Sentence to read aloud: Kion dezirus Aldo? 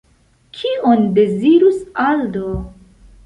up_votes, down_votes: 2, 0